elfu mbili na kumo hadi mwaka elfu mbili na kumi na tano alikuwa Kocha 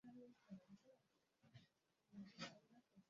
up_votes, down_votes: 0, 9